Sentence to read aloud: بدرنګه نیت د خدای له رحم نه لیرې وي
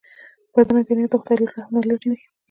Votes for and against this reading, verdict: 0, 2, rejected